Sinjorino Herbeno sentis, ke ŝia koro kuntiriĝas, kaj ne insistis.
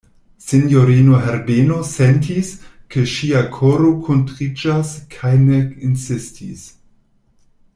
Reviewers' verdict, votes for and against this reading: accepted, 2, 0